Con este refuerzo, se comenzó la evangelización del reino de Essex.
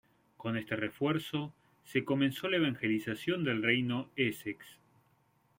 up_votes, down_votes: 0, 2